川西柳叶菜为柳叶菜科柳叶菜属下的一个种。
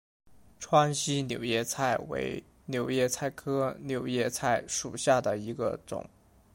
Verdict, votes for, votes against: accepted, 2, 0